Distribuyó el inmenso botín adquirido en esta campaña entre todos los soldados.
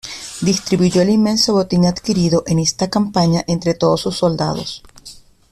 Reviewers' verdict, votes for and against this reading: rejected, 0, 2